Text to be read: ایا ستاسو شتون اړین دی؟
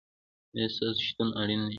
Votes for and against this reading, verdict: 1, 2, rejected